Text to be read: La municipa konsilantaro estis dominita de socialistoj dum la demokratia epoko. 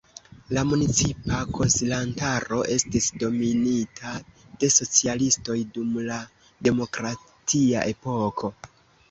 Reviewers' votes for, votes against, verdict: 2, 0, accepted